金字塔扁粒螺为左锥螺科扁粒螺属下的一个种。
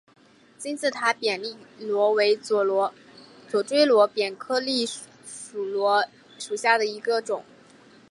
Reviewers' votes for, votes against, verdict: 0, 3, rejected